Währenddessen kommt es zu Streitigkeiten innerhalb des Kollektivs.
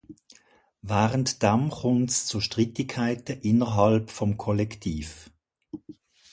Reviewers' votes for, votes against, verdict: 0, 2, rejected